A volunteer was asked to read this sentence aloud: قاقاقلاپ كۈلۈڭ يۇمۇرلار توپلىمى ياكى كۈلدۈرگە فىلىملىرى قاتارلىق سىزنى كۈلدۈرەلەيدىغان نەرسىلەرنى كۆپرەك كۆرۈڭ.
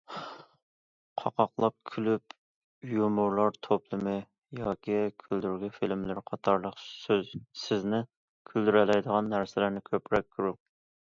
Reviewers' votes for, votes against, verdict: 1, 2, rejected